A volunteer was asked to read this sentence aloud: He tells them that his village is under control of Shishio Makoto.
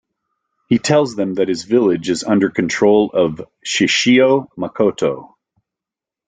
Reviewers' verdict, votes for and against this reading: accepted, 2, 0